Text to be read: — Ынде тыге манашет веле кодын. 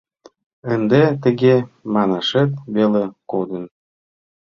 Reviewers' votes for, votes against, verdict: 2, 0, accepted